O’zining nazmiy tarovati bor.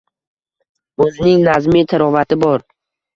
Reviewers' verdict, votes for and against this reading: rejected, 1, 2